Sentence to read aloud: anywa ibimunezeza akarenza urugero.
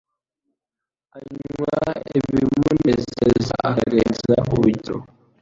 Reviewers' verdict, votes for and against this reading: rejected, 0, 2